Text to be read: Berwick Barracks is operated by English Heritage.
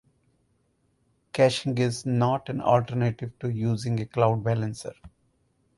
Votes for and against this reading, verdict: 2, 4, rejected